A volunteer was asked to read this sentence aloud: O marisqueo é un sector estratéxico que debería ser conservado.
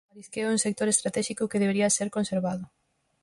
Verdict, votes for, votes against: rejected, 0, 4